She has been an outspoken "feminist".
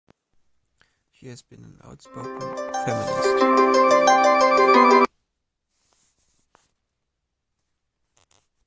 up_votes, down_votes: 0, 2